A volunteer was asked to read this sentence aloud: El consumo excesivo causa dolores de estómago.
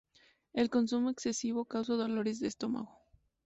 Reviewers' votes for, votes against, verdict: 2, 0, accepted